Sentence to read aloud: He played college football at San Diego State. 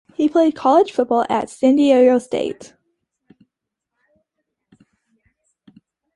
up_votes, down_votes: 2, 0